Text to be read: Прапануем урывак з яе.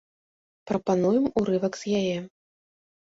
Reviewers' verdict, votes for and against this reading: accepted, 2, 0